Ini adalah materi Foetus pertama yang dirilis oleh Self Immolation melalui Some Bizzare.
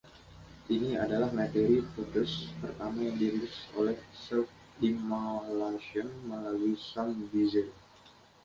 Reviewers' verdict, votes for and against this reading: accepted, 2, 0